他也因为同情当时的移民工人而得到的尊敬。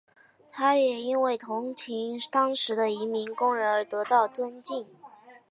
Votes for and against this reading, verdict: 4, 0, accepted